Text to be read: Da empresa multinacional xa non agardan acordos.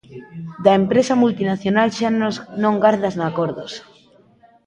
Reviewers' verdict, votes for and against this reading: rejected, 0, 2